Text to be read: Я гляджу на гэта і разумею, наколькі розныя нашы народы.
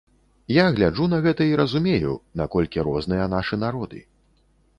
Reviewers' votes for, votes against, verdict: 2, 0, accepted